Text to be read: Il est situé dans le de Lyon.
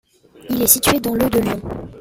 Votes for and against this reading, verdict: 1, 2, rejected